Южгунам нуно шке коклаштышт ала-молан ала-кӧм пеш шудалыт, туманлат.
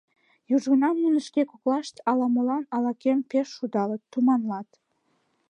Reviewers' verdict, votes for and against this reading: rejected, 1, 2